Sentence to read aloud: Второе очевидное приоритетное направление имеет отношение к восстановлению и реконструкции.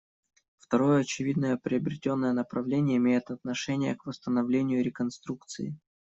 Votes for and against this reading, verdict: 0, 2, rejected